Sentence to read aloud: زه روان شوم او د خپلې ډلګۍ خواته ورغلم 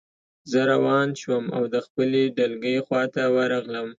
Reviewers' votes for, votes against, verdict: 2, 0, accepted